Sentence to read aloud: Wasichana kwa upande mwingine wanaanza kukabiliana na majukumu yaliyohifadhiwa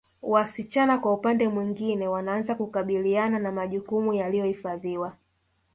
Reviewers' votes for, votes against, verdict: 0, 2, rejected